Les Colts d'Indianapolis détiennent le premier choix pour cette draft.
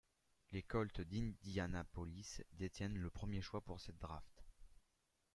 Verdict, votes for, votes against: rejected, 1, 2